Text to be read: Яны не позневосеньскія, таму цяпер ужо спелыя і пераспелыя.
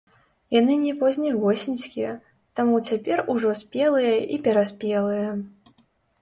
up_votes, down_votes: 1, 2